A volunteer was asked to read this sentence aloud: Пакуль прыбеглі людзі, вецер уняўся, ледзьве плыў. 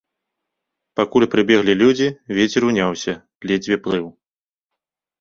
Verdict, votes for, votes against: accepted, 2, 0